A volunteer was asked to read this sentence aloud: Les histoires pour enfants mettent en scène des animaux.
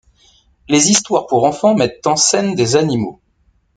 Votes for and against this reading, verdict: 0, 2, rejected